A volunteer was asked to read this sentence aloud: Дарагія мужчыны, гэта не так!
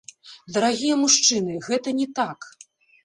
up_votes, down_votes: 0, 2